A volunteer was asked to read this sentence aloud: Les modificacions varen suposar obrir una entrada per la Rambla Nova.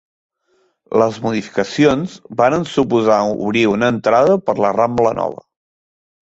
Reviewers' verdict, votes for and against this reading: accepted, 3, 0